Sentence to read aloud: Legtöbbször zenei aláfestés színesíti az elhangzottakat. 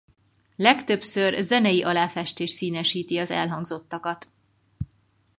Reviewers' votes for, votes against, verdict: 4, 0, accepted